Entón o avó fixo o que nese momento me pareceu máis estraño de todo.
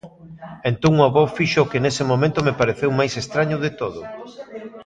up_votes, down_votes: 0, 2